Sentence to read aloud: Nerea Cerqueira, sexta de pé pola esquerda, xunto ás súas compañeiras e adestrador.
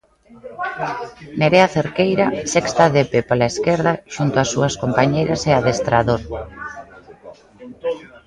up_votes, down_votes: 1, 2